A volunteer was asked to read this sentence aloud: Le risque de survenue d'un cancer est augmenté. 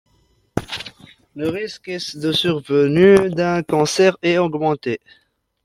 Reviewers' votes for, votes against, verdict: 1, 2, rejected